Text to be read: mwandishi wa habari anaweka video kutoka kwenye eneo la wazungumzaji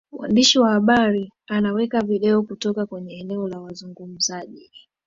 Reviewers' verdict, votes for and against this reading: accepted, 2, 1